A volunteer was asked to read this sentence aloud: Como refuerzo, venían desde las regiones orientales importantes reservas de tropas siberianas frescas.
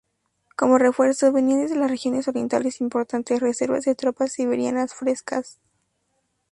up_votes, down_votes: 0, 4